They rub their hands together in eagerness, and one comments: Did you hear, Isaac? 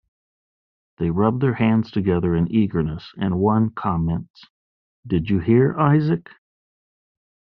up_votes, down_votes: 2, 0